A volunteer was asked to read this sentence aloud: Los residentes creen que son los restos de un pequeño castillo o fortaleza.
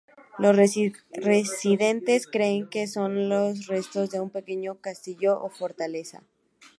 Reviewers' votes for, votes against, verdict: 2, 0, accepted